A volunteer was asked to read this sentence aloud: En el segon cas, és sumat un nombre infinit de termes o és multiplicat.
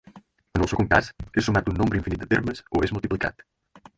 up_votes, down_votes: 0, 4